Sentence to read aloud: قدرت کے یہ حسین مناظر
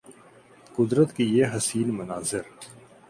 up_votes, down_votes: 2, 0